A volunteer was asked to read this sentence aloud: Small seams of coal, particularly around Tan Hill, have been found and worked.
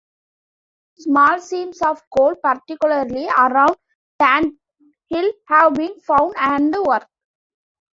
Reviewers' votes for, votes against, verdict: 2, 1, accepted